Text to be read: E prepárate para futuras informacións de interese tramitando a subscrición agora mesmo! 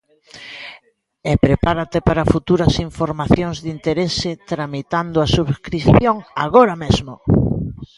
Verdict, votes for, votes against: rejected, 1, 2